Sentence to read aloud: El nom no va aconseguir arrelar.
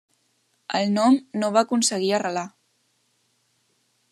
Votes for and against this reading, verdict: 3, 0, accepted